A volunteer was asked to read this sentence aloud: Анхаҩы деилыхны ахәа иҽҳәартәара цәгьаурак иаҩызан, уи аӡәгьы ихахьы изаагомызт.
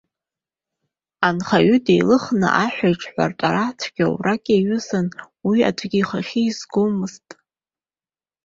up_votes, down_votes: 0, 2